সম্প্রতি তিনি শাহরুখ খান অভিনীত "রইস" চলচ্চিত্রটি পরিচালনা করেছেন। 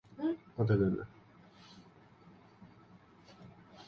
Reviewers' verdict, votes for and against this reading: rejected, 0, 2